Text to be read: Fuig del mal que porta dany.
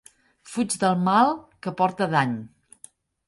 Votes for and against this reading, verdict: 2, 0, accepted